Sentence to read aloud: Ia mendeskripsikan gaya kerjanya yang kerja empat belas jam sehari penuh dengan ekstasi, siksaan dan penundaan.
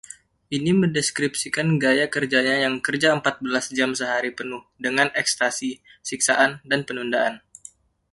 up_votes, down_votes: 0, 2